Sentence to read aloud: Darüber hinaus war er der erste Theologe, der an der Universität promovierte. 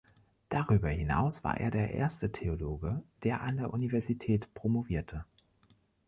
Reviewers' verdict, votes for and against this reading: accepted, 3, 0